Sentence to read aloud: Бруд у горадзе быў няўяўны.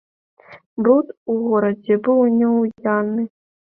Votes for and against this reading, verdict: 1, 2, rejected